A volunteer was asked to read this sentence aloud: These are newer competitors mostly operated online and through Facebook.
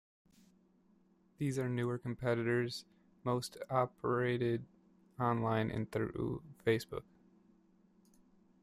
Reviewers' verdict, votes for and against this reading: rejected, 1, 2